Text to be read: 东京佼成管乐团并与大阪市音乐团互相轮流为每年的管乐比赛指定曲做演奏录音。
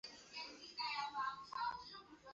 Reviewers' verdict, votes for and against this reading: rejected, 0, 3